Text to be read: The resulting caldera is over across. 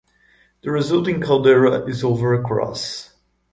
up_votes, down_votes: 2, 0